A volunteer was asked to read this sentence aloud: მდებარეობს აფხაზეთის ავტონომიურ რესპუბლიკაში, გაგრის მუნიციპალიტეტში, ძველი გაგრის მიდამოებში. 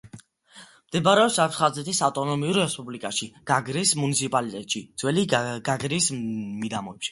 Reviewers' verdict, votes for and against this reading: accepted, 2, 1